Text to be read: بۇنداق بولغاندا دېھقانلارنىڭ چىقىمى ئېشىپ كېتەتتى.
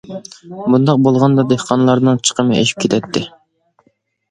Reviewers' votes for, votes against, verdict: 2, 0, accepted